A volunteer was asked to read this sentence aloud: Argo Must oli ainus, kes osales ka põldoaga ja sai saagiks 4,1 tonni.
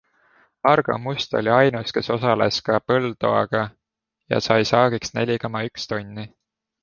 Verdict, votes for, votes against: rejected, 0, 2